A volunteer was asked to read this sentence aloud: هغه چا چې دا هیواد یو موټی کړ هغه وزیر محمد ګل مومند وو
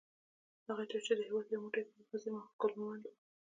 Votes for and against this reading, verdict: 2, 0, accepted